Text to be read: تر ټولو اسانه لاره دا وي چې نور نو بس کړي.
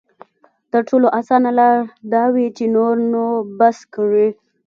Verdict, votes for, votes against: rejected, 0, 2